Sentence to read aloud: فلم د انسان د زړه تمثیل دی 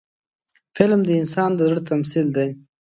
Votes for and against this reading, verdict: 2, 0, accepted